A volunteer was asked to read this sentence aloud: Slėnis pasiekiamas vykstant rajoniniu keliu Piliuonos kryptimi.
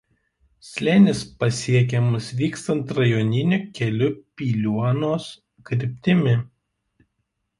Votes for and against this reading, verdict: 0, 2, rejected